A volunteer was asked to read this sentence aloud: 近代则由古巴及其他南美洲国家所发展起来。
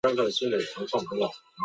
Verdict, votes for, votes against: rejected, 0, 4